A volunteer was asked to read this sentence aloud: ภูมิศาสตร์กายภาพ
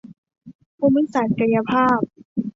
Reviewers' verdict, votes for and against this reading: rejected, 1, 2